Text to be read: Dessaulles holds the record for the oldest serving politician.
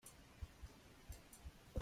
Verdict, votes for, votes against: rejected, 1, 2